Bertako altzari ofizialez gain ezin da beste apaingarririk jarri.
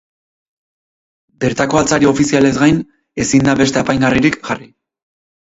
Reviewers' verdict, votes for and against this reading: accepted, 4, 0